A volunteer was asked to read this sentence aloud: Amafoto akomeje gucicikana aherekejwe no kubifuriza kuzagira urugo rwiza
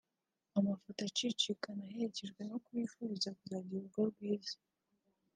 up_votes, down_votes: 1, 2